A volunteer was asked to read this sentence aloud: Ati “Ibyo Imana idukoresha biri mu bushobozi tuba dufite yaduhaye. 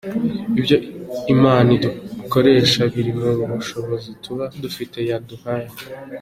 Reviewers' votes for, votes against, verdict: 2, 0, accepted